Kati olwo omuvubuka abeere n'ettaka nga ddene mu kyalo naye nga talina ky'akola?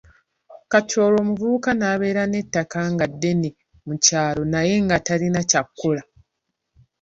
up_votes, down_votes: 2, 1